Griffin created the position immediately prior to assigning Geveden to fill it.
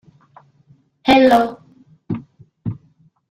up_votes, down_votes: 0, 2